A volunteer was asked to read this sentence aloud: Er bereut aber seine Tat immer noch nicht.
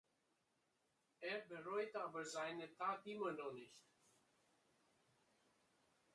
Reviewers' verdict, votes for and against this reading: rejected, 0, 2